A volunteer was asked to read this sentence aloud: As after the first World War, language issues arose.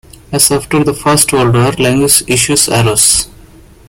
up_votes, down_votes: 0, 2